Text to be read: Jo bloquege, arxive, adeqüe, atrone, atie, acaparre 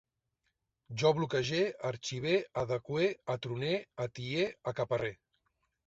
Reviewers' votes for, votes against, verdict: 1, 2, rejected